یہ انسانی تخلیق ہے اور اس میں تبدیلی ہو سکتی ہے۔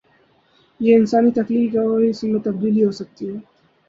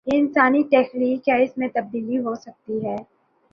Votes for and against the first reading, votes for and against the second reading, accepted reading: 2, 0, 1, 2, first